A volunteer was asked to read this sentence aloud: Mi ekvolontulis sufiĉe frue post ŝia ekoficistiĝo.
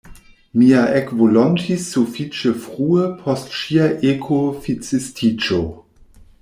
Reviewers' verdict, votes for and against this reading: rejected, 1, 2